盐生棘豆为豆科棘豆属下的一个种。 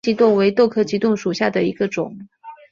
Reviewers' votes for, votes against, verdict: 1, 2, rejected